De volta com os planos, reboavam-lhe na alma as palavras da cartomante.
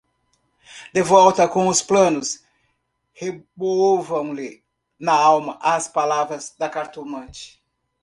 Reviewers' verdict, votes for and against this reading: rejected, 1, 2